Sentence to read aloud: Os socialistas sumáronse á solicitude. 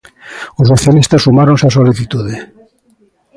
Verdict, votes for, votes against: accepted, 2, 1